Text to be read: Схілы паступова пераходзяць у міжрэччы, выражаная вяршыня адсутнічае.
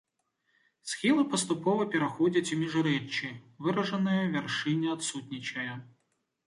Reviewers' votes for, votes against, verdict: 2, 0, accepted